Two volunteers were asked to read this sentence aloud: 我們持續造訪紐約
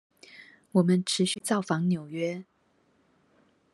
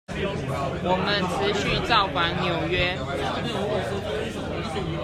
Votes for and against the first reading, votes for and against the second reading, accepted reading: 2, 0, 0, 2, first